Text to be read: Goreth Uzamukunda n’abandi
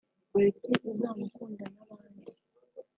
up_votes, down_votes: 1, 2